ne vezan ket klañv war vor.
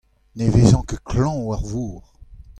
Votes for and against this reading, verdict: 2, 0, accepted